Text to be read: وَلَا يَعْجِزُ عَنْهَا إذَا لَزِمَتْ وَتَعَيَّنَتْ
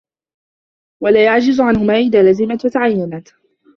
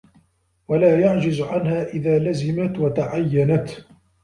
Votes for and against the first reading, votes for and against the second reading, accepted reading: 0, 2, 2, 0, second